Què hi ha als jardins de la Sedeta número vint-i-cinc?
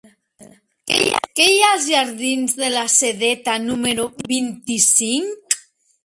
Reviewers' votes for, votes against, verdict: 1, 2, rejected